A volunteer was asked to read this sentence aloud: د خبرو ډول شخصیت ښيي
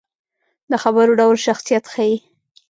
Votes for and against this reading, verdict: 0, 2, rejected